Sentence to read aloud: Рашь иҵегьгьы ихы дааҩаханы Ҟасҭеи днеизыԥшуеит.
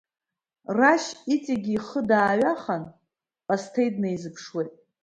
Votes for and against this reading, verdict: 2, 0, accepted